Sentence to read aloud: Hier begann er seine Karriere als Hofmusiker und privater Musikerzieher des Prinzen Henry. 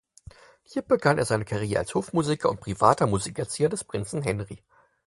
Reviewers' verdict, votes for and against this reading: accepted, 4, 0